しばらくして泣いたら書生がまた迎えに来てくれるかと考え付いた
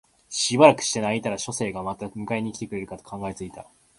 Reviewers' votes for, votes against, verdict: 2, 0, accepted